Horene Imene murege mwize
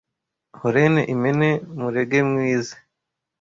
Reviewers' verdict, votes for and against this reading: rejected, 0, 2